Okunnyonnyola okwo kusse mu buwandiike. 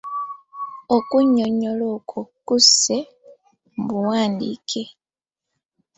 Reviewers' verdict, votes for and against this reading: accepted, 2, 0